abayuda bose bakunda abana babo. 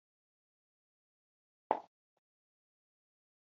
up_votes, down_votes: 1, 2